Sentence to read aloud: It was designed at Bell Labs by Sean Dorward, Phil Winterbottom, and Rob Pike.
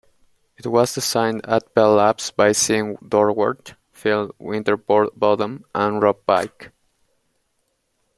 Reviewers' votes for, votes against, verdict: 0, 2, rejected